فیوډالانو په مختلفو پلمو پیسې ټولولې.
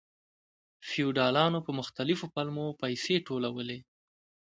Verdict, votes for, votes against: accepted, 2, 0